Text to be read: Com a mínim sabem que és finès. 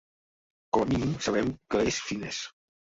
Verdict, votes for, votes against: rejected, 0, 2